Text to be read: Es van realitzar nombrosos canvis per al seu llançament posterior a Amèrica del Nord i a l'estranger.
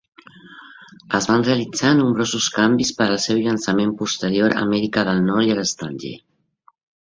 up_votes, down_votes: 3, 0